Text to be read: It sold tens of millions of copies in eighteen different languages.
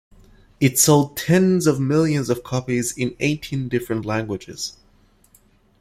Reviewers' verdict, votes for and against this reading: accepted, 2, 0